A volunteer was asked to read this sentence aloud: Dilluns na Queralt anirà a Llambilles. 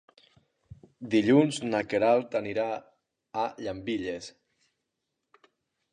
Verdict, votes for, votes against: accepted, 4, 0